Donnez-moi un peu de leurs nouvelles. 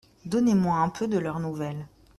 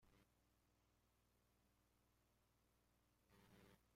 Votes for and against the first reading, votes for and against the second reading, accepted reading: 2, 0, 0, 2, first